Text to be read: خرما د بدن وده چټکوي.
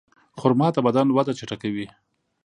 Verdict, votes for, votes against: accepted, 2, 0